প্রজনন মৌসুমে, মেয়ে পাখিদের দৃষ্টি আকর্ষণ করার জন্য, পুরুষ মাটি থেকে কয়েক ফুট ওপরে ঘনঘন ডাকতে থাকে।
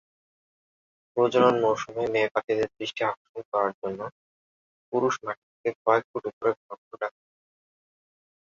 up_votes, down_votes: 4, 5